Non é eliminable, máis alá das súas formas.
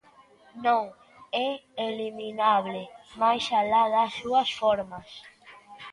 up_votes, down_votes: 1, 2